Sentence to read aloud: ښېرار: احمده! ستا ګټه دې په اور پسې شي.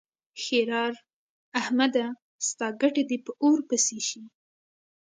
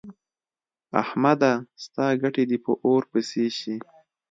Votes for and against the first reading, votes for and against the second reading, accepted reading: 2, 0, 1, 2, first